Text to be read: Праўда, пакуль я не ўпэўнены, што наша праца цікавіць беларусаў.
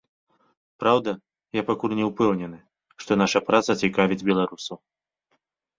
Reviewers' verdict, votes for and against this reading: rejected, 1, 3